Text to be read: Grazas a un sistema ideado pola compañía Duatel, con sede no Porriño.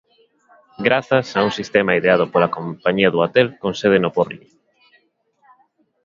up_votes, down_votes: 1, 2